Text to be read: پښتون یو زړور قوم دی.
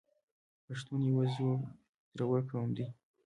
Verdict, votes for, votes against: accepted, 3, 1